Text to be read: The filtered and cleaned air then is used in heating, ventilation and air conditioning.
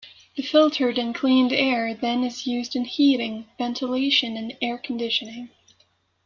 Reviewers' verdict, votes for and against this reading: accepted, 2, 0